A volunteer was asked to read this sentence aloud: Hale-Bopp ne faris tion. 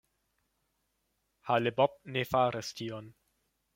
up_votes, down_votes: 1, 2